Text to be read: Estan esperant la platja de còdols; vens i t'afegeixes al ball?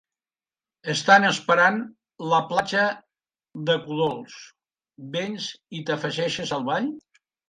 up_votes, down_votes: 0, 2